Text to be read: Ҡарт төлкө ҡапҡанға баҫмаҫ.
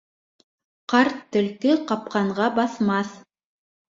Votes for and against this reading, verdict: 2, 0, accepted